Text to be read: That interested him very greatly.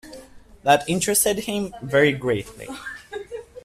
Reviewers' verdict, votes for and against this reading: accepted, 2, 0